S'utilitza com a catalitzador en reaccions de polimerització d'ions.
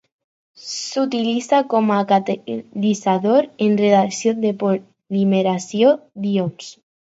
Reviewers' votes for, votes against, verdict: 0, 4, rejected